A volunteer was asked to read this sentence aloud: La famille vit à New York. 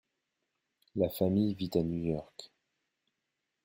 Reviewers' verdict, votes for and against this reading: accepted, 2, 0